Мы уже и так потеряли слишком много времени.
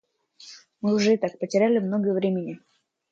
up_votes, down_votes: 0, 2